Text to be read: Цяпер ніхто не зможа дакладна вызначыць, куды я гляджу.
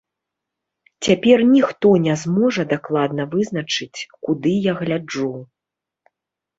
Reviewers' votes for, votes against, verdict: 2, 0, accepted